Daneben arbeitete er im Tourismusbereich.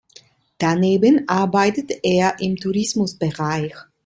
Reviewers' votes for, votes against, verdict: 2, 0, accepted